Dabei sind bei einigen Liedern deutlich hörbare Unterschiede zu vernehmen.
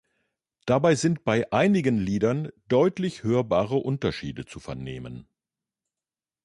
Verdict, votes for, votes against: accepted, 2, 0